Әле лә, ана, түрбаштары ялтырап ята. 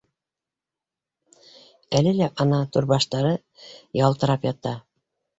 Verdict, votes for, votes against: accepted, 2, 0